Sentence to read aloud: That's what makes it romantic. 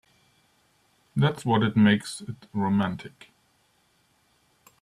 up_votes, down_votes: 0, 2